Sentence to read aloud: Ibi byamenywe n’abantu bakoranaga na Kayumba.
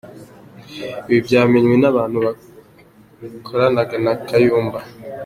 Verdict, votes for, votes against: accepted, 2, 1